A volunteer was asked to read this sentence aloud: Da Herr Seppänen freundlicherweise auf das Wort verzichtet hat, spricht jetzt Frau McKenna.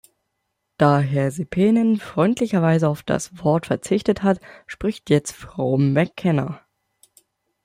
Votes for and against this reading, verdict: 2, 0, accepted